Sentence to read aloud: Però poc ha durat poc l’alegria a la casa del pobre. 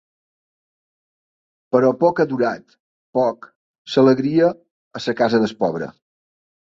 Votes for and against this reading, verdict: 1, 2, rejected